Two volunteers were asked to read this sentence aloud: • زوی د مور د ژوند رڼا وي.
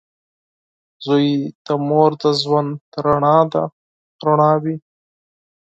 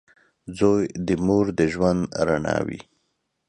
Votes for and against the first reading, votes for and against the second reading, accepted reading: 0, 4, 2, 0, second